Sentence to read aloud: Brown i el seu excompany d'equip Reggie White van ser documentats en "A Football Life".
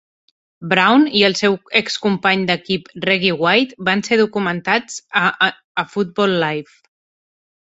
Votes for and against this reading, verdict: 0, 2, rejected